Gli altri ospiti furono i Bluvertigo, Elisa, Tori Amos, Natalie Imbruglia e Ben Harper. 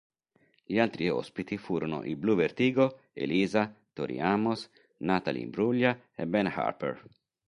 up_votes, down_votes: 3, 0